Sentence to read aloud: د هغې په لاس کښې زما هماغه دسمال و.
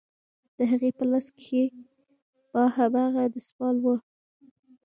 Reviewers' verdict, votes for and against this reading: rejected, 0, 2